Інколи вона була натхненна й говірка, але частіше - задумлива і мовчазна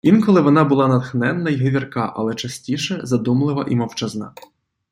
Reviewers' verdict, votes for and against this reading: accepted, 2, 0